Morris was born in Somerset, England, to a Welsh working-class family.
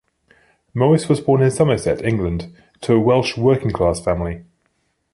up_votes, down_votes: 3, 0